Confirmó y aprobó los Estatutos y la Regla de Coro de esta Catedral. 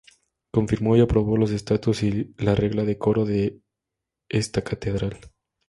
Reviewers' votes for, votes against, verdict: 0, 2, rejected